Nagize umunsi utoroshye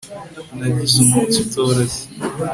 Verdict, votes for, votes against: accepted, 2, 0